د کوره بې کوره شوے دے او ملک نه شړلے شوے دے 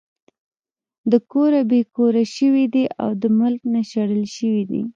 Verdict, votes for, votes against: rejected, 1, 2